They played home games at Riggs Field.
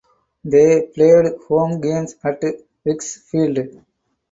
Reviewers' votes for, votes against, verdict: 0, 4, rejected